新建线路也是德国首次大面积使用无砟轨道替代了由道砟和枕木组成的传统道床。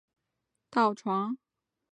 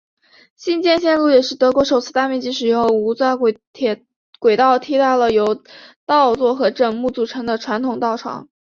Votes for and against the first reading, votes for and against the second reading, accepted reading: 0, 2, 3, 2, second